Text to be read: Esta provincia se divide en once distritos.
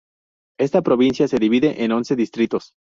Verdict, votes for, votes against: rejected, 0, 2